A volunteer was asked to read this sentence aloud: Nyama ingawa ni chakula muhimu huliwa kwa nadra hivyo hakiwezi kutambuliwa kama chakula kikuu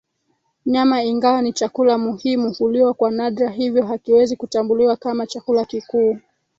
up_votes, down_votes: 3, 0